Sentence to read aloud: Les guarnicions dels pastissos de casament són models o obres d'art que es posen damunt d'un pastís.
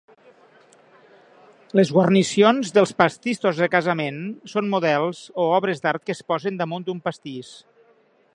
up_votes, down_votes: 3, 0